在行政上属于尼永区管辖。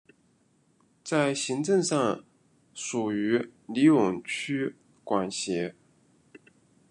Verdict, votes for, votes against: rejected, 1, 2